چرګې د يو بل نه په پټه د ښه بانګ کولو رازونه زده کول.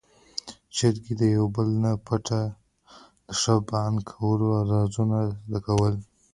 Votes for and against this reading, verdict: 1, 2, rejected